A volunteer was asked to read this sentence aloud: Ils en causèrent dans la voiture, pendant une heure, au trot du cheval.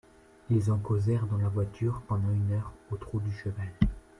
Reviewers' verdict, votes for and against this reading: accepted, 2, 1